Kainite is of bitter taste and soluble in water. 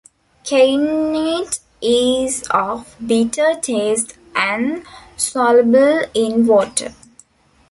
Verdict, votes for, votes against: accepted, 2, 0